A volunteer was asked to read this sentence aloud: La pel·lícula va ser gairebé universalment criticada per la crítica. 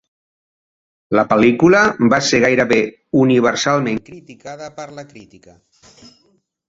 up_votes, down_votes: 0, 2